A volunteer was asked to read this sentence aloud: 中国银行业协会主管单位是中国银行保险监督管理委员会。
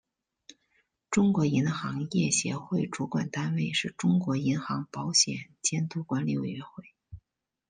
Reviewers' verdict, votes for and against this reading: accepted, 2, 0